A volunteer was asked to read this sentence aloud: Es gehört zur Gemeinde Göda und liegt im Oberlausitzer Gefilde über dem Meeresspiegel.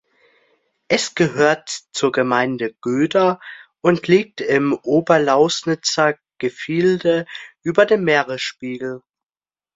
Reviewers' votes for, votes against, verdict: 0, 2, rejected